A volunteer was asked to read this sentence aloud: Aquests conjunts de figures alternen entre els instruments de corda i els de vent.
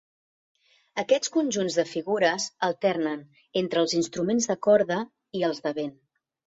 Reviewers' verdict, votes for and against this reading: accepted, 3, 0